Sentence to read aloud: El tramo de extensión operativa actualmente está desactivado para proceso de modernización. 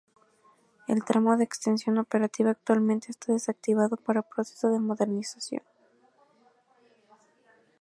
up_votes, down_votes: 2, 0